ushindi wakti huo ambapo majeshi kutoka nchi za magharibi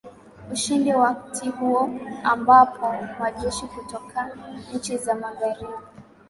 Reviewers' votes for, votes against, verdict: 2, 0, accepted